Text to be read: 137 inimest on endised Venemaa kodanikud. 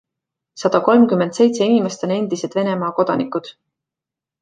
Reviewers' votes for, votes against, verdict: 0, 2, rejected